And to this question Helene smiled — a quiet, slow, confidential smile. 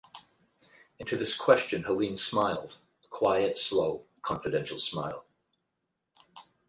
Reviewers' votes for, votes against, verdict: 4, 4, rejected